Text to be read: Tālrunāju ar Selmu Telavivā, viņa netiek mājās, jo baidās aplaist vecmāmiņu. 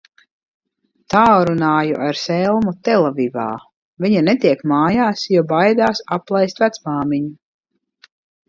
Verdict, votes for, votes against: accepted, 2, 0